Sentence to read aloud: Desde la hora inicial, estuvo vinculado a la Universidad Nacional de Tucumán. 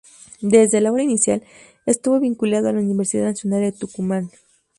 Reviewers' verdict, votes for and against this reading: accepted, 2, 0